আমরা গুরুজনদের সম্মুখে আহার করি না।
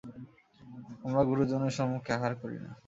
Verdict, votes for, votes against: accepted, 2, 0